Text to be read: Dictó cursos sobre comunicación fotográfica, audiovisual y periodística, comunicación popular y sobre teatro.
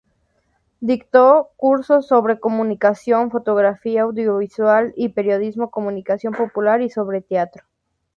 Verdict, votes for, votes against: rejected, 2, 2